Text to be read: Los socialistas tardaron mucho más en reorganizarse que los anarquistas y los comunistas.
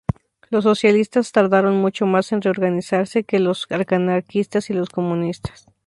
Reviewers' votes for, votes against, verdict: 0, 4, rejected